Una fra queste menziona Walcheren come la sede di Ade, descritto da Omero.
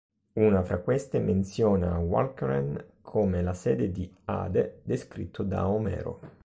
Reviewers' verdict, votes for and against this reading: rejected, 0, 2